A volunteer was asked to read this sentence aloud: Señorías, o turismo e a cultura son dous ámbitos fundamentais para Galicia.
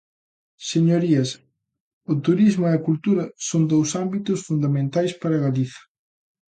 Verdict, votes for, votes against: rejected, 1, 2